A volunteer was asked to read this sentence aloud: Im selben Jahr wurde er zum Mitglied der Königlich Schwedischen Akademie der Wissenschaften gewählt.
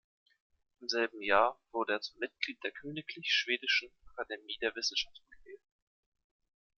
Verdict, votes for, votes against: rejected, 0, 2